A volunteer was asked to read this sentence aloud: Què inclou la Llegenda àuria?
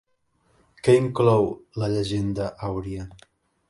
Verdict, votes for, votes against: rejected, 1, 2